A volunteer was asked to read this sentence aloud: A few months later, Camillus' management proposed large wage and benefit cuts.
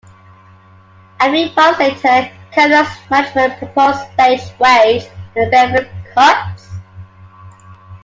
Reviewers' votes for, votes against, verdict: 0, 2, rejected